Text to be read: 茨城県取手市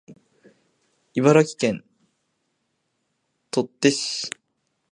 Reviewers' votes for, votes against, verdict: 2, 0, accepted